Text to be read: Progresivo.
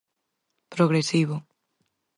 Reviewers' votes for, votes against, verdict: 4, 0, accepted